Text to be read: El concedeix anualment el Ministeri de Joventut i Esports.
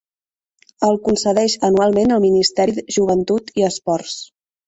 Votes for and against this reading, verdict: 2, 0, accepted